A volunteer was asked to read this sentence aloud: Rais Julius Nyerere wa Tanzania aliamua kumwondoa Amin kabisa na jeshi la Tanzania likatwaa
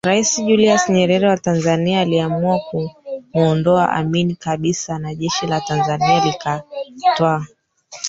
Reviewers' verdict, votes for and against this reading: rejected, 1, 3